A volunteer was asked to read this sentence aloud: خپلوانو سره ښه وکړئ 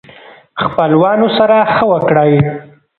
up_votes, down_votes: 1, 2